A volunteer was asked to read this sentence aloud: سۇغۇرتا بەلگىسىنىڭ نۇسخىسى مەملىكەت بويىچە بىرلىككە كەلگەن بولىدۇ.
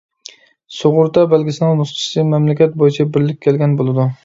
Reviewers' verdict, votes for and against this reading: accepted, 2, 0